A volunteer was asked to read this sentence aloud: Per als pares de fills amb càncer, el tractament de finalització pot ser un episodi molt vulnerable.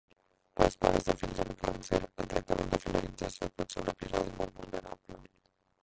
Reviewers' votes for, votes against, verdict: 0, 2, rejected